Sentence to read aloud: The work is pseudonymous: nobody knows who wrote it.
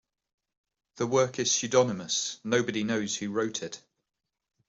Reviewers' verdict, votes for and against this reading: accepted, 2, 0